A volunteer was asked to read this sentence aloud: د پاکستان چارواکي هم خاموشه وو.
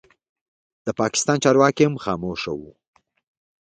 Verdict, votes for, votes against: accepted, 2, 0